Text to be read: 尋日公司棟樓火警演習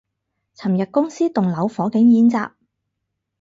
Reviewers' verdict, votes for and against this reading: accepted, 2, 0